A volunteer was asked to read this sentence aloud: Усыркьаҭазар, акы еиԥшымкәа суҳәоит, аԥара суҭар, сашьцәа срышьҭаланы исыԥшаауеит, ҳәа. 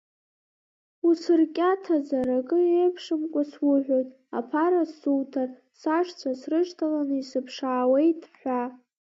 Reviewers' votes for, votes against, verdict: 0, 2, rejected